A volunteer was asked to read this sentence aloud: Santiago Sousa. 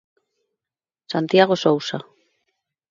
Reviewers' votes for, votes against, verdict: 2, 0, accepted